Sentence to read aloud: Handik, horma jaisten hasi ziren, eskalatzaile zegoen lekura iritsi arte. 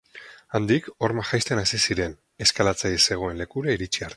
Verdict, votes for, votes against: rejected, 0, 4